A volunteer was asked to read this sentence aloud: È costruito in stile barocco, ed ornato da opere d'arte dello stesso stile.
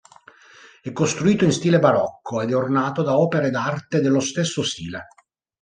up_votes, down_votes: 2, 0